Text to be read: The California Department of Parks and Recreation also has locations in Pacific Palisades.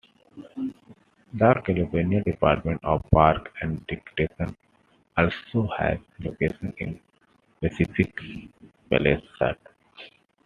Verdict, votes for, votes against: accepted, 2, 1